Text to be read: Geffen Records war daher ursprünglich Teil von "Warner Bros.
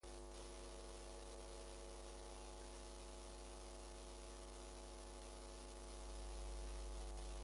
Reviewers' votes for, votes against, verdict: 0, 2, rejected